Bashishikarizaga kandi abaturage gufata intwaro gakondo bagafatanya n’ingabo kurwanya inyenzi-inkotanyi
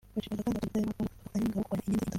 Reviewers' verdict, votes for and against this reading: rejected, 0, 2